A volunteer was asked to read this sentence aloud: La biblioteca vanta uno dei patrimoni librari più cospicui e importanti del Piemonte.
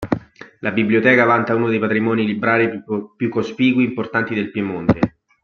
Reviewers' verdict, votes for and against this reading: rejected, 1, 2